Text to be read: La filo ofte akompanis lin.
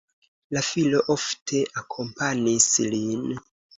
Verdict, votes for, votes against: accepted, 3, 0